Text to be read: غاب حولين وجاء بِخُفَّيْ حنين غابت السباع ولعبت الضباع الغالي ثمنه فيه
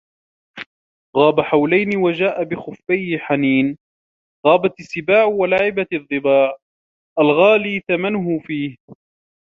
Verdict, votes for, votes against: accepted, 2, 0